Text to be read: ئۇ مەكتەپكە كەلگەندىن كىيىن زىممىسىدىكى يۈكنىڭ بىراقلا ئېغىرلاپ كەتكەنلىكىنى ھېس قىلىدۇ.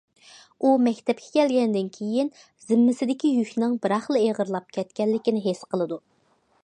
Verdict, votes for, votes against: accepted, 2, 0